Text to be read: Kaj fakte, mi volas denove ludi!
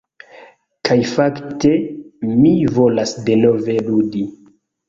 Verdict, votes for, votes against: accepted, 2, 0